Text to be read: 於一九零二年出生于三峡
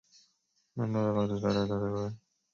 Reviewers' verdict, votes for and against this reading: rejected, 0, 4